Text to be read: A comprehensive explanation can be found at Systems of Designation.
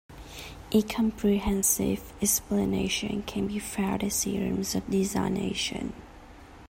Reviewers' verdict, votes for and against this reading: rejected, 1, 2